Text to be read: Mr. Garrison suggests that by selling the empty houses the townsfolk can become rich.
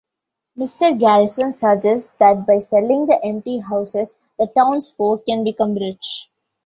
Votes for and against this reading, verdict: 2, 0, accepted